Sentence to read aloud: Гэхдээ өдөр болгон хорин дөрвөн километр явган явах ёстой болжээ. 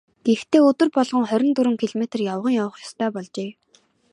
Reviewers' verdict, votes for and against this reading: accepted, 5, 0